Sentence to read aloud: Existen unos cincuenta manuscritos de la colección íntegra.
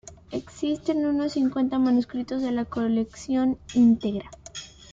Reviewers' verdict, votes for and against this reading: accepted, 2, 0